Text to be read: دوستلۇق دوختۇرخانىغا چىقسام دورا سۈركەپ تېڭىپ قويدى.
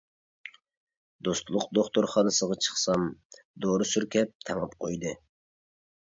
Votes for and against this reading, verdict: 0, 2, rejected